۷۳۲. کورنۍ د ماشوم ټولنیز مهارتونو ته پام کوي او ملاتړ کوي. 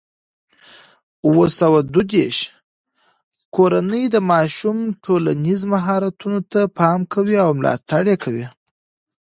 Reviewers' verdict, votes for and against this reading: rejected, 0, 2